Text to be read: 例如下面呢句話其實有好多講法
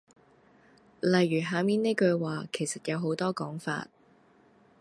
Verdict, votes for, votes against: accepted, 2, 0